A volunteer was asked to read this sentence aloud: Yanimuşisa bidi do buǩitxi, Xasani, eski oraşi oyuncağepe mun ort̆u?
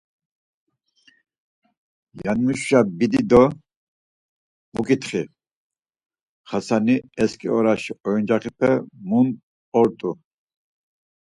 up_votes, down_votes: 4, 0